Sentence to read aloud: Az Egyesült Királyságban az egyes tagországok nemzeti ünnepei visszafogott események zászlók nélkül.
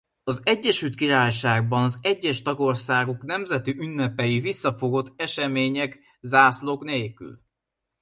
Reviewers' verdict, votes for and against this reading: accepted, 2, 0